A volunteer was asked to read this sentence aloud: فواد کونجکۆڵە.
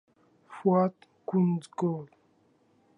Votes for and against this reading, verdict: 0, 2, rejected